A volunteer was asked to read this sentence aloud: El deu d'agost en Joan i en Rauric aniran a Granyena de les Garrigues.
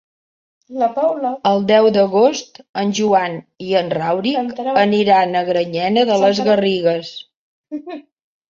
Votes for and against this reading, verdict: 1, 2, rejected